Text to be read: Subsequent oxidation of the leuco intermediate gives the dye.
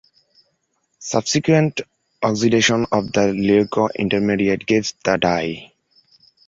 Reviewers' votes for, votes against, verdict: 1, 2, rejected